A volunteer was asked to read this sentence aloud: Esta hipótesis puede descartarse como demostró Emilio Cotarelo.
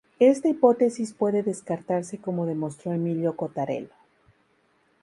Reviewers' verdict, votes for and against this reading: accepted, 4, 0